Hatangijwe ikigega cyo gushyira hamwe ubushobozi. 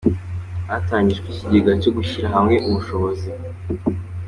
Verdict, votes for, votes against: accepted, 2, 0